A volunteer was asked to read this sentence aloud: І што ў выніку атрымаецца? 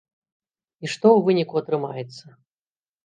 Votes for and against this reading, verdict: 3, 0, accepted